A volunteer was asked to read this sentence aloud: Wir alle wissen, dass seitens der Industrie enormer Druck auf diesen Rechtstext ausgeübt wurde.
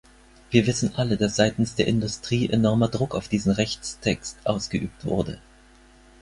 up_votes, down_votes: 4, 6